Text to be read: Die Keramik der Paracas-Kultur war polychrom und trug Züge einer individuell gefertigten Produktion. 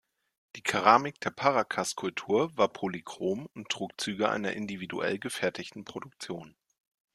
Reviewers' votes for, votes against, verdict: 2, 0, accepted